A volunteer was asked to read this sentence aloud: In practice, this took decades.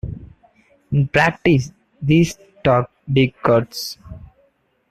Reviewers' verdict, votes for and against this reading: rejected, 0, 2